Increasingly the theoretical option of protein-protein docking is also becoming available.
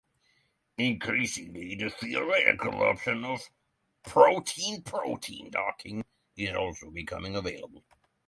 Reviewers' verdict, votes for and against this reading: rejected, 0, 3